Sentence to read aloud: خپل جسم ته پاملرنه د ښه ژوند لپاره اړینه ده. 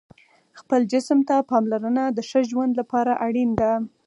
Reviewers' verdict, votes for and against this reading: accepted, 4, 0